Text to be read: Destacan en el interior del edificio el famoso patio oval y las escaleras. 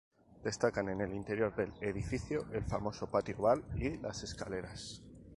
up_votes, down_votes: 2, 0